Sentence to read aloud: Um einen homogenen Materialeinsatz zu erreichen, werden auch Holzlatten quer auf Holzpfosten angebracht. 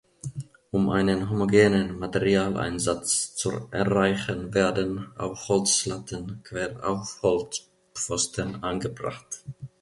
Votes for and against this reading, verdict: 1, 2, rejected